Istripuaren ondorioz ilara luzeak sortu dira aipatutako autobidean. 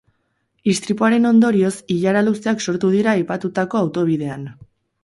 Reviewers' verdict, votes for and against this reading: accepted, 6, 0